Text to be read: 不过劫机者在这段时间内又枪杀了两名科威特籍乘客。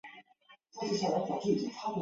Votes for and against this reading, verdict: 0, 4, rejected